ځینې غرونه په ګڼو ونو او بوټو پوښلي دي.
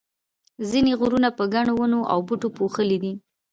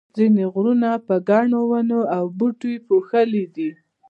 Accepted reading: first